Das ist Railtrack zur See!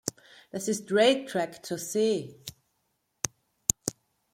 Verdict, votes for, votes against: rejected, 1, 2